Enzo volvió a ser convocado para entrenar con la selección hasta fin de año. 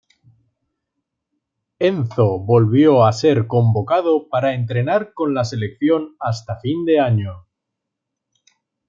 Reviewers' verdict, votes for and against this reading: accepted, 2, 0